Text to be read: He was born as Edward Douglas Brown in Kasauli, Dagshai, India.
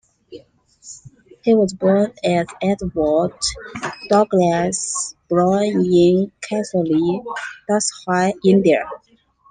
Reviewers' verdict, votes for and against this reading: rejected, 0, 2